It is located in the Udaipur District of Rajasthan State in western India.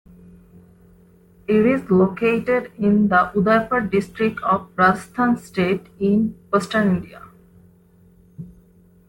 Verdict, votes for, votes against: accepted, 2, 0